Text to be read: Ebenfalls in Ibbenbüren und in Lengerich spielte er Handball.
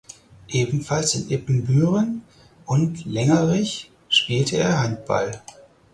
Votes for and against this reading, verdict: 0, 4, rejected